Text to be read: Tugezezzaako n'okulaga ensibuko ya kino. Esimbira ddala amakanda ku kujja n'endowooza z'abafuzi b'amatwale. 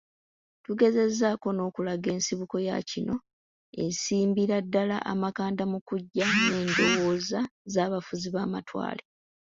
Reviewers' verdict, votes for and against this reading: rejected, 1, 2